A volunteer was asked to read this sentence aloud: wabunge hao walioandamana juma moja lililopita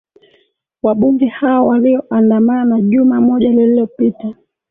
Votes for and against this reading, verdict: 2, 0, accepted